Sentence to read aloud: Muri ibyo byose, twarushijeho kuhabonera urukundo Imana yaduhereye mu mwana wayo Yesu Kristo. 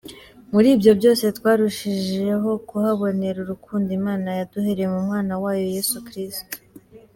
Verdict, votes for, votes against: accepted, 2, 1